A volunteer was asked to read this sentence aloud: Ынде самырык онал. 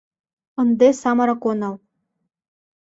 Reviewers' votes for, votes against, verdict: 2, 0, accepted